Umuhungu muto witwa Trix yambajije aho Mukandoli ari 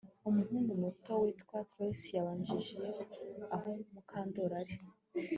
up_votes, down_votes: 2, 0